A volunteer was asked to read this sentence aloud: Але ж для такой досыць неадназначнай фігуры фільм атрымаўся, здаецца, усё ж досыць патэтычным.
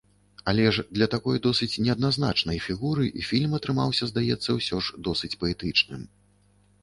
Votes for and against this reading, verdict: 0, 2, rejected